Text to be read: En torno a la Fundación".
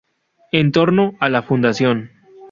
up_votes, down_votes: 4, 0